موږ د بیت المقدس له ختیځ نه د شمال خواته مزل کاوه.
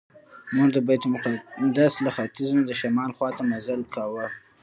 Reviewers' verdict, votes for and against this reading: rejected, 0, 2